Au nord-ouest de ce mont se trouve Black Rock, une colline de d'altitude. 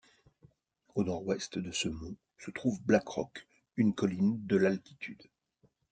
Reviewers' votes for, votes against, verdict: 0, 2, rejected